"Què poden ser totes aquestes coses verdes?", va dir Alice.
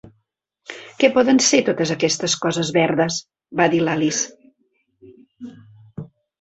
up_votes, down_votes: 0, 2